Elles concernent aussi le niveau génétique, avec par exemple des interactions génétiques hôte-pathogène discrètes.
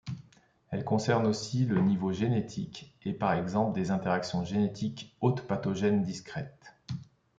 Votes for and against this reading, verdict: 2, 0, accepted